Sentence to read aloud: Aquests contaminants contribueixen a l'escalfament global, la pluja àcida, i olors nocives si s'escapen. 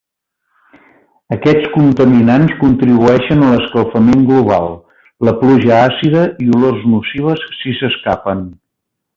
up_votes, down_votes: 2, 0